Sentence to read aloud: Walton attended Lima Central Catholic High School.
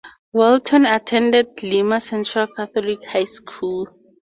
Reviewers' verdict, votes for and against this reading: accepted, 4, 0